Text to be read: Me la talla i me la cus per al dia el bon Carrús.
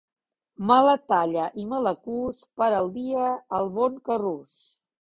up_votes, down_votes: 2, 1